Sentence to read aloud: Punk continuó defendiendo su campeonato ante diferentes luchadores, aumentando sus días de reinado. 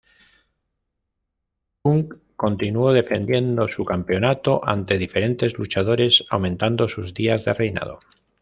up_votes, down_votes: 2, 0